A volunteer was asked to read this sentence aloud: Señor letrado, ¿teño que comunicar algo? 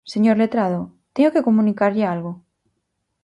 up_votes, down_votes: 0, 4